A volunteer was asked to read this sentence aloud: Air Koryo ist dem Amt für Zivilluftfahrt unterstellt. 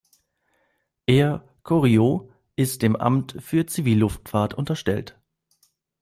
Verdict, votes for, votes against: accepted, 2, 0